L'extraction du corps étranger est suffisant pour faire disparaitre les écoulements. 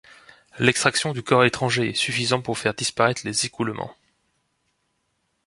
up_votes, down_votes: 2, 0